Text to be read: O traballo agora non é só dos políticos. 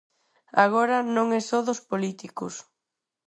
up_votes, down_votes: 0, 4